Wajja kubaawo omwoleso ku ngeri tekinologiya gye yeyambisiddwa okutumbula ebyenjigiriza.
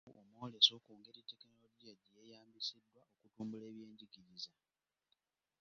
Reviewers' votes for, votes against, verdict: 1, 2, rejected